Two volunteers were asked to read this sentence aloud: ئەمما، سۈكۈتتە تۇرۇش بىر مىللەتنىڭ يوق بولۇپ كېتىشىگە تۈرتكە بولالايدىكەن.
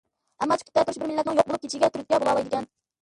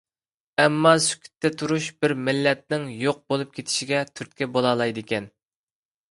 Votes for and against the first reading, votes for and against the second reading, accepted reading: 0, 2, 3, 0, second